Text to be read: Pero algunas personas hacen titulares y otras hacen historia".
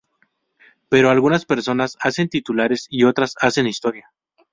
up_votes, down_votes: 2, 0